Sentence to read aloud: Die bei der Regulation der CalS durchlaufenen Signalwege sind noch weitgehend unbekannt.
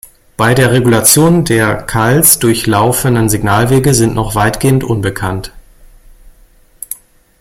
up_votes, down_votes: 1, 2